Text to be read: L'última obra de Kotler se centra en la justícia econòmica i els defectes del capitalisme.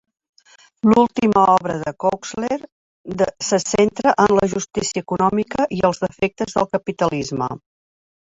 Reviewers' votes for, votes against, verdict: 0, 3, rejected